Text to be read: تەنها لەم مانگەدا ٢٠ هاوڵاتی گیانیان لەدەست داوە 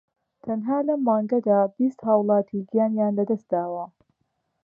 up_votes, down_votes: 0, 2